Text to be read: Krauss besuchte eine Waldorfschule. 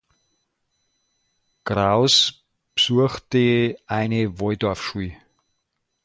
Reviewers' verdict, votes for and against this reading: rejected, 0, 2